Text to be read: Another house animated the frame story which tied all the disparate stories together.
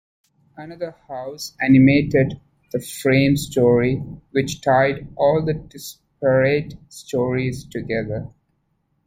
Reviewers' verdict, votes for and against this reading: rejected, 0, 2